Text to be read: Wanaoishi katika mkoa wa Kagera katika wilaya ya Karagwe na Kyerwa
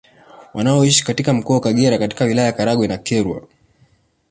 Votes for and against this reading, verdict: 2, 0, accepted